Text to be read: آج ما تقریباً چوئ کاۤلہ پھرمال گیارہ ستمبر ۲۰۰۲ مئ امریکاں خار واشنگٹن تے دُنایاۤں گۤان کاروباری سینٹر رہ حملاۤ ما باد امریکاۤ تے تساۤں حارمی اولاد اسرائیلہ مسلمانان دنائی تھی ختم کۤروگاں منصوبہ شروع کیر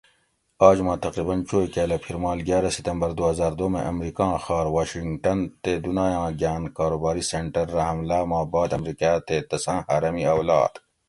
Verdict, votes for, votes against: rejected, 0, 2